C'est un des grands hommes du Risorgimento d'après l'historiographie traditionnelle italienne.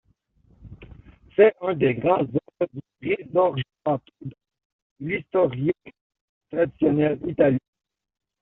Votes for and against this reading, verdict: 0, 2, rejected